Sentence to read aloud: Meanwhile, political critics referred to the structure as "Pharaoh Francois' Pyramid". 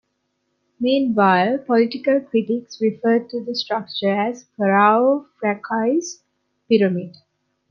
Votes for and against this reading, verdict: 1, 2, rejected